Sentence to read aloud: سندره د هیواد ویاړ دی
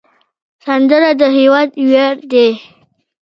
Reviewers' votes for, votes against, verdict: 2, 0, accepted